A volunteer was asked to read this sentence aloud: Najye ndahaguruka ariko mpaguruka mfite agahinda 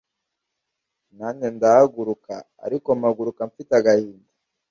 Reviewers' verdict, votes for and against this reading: accepted, 2, 0